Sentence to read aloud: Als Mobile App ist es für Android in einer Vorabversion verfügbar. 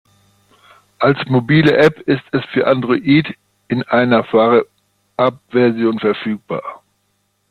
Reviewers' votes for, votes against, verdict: 0, 2, rejected